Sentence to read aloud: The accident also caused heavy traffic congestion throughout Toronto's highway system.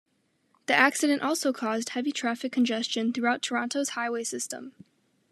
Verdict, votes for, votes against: accepted, 2, 0